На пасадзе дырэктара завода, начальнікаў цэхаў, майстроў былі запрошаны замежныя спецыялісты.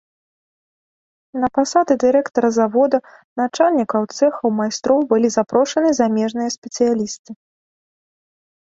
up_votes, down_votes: 1, 2